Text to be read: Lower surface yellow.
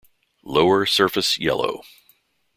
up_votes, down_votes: 1, 2